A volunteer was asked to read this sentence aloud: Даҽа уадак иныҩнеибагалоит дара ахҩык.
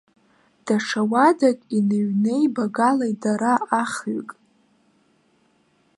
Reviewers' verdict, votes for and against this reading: accepted, 2, 1